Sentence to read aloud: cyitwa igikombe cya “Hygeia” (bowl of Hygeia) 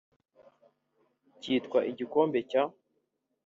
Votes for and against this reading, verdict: 0, 3, rejected